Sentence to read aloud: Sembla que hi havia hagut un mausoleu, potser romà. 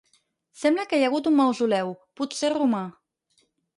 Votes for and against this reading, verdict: 2, 4, rejected